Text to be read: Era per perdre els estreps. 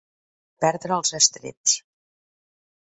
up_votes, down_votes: 0, 2